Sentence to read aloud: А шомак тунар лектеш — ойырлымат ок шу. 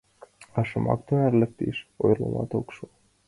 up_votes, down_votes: 1, 2